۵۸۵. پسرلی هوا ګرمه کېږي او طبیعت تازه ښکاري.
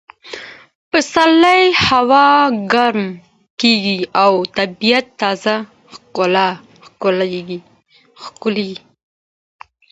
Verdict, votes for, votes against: rejected, 0, 2